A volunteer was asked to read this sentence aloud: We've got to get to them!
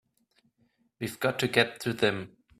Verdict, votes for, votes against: accepted, 2, 0